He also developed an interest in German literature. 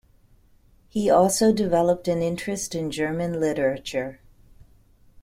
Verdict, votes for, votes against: accepted, 2, 0